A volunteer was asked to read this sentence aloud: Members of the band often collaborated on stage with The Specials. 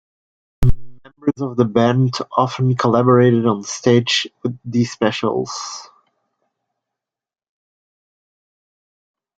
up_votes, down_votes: 2, 1